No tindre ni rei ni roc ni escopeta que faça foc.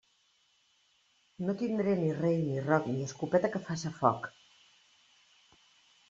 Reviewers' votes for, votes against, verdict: 1, 2, rejected